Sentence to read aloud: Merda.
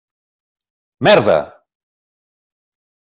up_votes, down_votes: 3, 0